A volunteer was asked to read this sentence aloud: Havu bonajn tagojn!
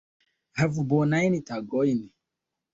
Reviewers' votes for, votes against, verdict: 2, 1, accepted